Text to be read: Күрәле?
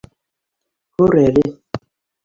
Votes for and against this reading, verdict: 0, 2, rejected